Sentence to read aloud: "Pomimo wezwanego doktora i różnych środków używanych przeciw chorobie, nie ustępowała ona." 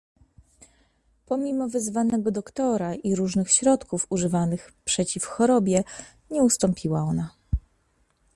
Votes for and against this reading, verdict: 1, 2, rejected